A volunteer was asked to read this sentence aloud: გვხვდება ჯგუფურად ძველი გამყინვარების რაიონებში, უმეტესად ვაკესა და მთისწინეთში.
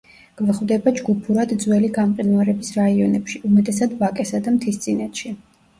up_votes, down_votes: 1, 2